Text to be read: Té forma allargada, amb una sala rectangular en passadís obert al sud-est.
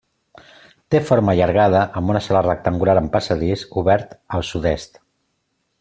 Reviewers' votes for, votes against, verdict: 2, 0, accepted